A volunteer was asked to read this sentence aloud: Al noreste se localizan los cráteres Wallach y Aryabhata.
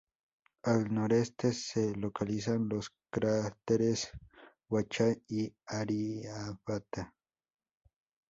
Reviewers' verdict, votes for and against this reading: rejected, 0, 2